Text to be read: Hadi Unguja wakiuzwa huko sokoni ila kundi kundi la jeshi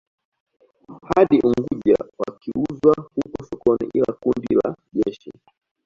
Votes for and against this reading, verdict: 0, 2, rejected